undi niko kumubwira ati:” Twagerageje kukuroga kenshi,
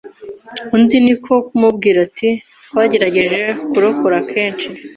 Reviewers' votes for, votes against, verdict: 0, 2, rejected